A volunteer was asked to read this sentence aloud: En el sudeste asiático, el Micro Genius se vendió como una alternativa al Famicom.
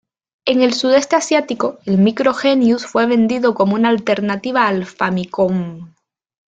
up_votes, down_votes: 1, 2